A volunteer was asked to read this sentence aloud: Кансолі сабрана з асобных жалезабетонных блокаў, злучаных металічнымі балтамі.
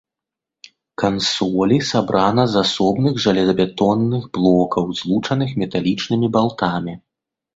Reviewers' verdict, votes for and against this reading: accepted, 2, 0